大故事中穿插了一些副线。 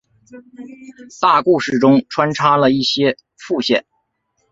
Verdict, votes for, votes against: accepted, 2, 0